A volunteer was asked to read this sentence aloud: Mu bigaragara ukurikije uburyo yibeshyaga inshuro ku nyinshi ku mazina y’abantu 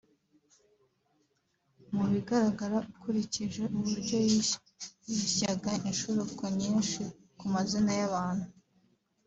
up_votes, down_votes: 2, 3